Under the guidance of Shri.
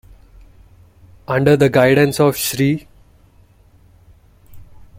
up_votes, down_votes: 2, 0